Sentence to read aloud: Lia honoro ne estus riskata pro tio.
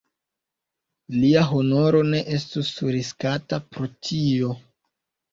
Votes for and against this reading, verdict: 1, 2, rejected